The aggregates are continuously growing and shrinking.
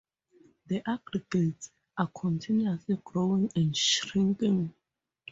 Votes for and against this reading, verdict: 2, 0, accepted